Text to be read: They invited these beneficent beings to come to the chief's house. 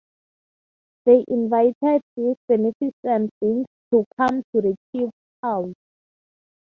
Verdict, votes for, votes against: rejected, 0, 3